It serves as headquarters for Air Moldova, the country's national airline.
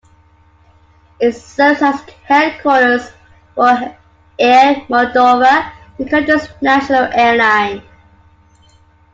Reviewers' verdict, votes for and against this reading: accepted, 2, 1